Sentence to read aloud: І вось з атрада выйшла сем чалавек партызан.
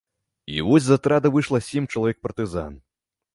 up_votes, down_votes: 2, 0